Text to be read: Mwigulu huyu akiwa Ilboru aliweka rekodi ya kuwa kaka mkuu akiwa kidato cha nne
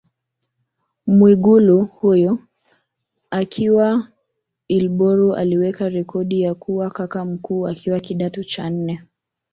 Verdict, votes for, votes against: rejected, 0, 2